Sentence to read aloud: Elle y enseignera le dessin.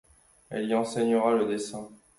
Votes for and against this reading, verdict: 2, 0, accepted